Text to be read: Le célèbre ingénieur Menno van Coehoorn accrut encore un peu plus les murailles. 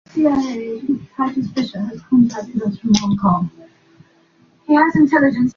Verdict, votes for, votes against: rejected, 0, 2